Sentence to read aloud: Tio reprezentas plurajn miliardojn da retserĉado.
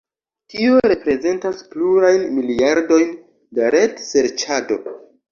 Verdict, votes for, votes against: rejected, 0, 2